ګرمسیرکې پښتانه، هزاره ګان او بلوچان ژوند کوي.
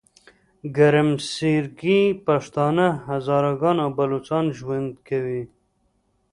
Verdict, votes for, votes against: accepted, 2, 0